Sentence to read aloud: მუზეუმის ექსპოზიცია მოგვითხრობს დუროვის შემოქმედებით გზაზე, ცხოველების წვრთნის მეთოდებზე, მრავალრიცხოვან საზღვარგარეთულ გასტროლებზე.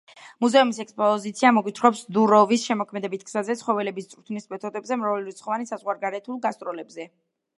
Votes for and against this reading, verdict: 2, 0, accepted